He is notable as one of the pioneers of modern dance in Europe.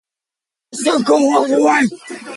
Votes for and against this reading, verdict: 0, 5, rejected